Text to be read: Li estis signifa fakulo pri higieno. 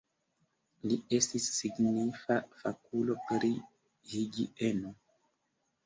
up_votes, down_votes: 1, 2